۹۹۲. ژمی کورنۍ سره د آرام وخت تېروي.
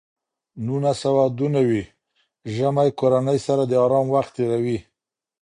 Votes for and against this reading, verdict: 0, 2, rejected